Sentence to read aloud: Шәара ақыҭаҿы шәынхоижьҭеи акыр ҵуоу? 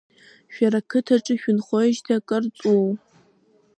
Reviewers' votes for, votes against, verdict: 1, 2, rejected